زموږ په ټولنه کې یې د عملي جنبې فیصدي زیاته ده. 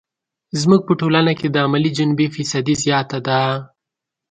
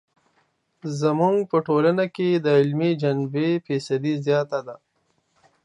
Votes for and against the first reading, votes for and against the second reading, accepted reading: 2, 0, 0, 2, first